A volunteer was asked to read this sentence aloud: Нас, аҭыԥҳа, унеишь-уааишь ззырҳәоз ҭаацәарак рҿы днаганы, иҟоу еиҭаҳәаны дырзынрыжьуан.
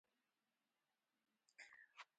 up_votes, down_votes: 1, 2